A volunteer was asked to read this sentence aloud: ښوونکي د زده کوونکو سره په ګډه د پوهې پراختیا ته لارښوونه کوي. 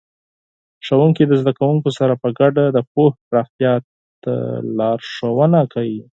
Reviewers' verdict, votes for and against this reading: accepted, 4, 0